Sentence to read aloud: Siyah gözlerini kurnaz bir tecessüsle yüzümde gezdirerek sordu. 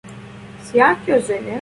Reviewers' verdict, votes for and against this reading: rejected, 0, 2